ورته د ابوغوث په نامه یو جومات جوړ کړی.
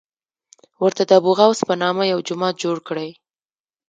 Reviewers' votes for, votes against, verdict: 0, 2, rejected